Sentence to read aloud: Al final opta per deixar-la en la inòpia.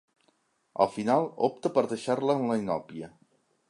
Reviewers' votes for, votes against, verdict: 2, 0, accepted